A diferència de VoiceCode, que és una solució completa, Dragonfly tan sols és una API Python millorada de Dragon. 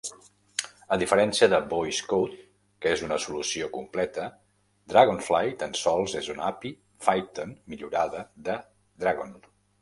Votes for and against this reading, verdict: 2, 0, accepted